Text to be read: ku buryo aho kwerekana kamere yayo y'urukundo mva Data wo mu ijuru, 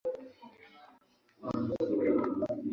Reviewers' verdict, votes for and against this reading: rejected, 0, 2